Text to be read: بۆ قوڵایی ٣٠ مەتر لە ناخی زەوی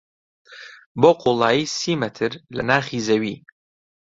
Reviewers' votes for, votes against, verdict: 0, 2, rejected